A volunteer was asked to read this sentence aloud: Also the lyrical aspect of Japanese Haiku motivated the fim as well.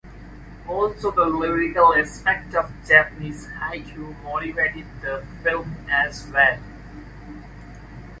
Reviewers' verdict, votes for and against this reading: accepted, 2, 0